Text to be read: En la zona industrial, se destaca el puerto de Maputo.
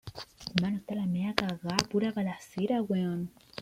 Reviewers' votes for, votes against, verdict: 0, 2, rejected